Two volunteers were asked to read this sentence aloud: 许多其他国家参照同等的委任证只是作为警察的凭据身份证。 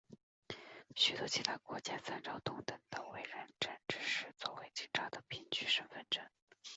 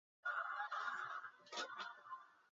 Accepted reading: first